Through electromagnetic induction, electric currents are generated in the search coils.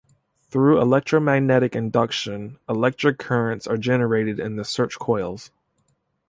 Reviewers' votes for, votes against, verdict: 2, 0, accepted